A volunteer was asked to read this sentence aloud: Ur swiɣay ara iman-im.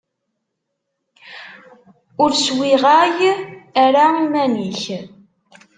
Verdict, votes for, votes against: rejected, 1, 2